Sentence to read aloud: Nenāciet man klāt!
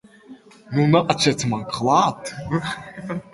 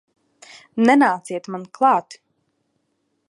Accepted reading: second